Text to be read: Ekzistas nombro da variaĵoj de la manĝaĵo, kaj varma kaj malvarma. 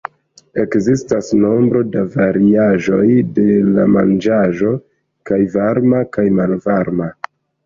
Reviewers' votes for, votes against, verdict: 2, 0, accepted